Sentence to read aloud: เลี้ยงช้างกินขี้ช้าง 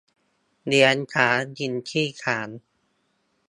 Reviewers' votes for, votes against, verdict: 2, 0, accepted